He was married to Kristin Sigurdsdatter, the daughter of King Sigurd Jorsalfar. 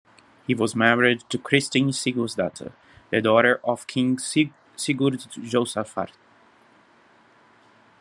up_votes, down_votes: 1, 2